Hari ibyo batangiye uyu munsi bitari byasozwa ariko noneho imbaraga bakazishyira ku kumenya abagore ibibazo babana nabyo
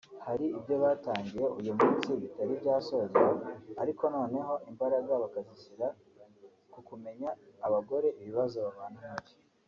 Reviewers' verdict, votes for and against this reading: accepted, 2, 0